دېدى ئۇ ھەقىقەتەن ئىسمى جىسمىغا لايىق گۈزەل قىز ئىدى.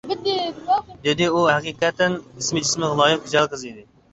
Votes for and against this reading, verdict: 1, 2, rejected